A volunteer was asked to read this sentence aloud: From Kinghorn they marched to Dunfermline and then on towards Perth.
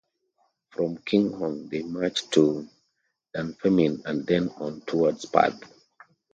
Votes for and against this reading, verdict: 0, 2, rejected